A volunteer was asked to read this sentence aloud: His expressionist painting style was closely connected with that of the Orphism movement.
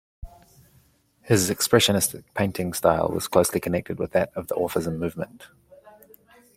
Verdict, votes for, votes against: accepted, 2, 0